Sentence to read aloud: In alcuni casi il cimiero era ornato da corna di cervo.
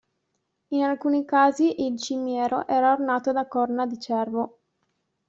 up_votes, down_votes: 2, 0